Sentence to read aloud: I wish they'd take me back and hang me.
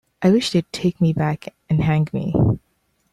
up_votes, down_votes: 3, 0